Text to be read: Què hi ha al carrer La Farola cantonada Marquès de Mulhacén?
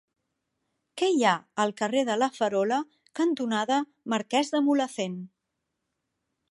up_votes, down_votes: 0, 2